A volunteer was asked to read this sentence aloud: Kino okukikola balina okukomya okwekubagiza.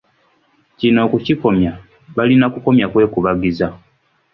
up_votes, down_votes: 1, 2